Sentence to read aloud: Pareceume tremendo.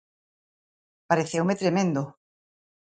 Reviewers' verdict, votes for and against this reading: accepted, 2, 0